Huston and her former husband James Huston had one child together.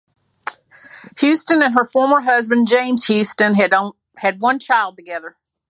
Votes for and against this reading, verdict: 0, 2, rejected